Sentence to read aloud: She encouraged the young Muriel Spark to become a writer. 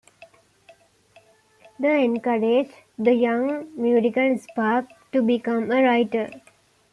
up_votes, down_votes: 0, 2